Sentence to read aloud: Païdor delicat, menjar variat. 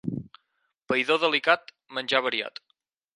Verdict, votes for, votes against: accepted, 4, 0